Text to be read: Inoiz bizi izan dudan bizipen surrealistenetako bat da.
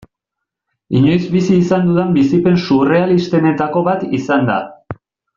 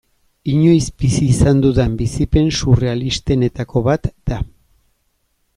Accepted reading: second